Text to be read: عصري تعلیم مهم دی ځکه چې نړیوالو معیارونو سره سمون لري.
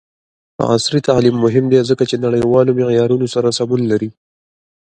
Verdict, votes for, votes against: accepted, 2, 1